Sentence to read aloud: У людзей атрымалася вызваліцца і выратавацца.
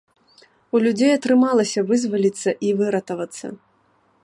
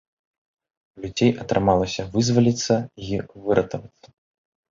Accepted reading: first